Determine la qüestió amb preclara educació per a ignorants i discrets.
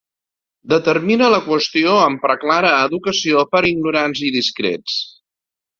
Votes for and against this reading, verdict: 1, 2, rejected